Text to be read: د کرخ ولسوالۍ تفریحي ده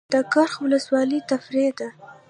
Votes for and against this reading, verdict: 1, 2, rejected